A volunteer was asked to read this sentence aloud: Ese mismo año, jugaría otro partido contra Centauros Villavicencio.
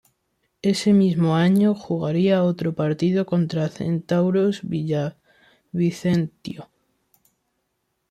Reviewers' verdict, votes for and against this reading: rejected, 0, 2